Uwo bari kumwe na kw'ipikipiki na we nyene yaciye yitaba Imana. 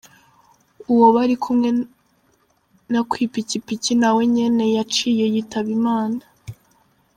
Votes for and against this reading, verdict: 1, 3, rejected